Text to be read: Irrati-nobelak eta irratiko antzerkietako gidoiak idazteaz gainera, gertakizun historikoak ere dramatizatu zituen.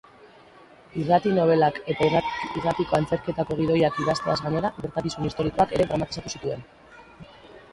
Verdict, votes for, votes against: rejected, 2, 6